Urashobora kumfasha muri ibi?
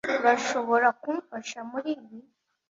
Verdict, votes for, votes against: accepted, 2, 0